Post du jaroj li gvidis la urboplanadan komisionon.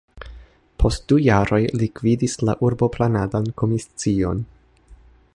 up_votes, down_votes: 0, 2